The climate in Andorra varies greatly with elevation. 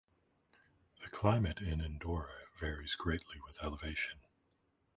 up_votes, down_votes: 0, 3